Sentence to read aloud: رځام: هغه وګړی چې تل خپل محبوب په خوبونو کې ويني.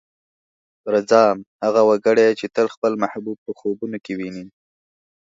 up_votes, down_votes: 4, 0